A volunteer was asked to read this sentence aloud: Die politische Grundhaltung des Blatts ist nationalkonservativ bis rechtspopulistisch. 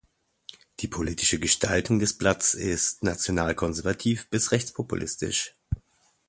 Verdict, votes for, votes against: rejected, 0, 2